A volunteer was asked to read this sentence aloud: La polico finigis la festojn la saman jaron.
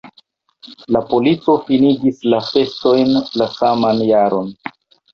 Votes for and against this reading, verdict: 1, 2, rejected